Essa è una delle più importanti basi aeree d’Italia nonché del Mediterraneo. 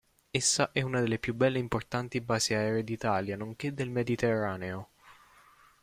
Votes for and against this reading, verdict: 1, 2, rejected